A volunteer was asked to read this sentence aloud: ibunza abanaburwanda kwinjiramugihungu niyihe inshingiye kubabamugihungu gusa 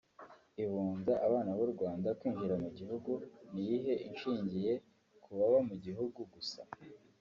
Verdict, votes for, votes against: accepted, 2, 1